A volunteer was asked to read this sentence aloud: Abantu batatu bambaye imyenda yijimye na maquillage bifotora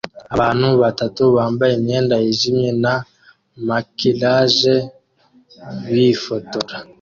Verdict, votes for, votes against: accepted, 2, 0